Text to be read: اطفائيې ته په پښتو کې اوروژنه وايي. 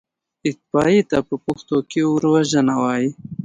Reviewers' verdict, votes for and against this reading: rejected, 1, 2